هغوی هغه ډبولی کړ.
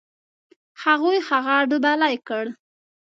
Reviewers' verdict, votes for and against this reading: rejected, 1, 2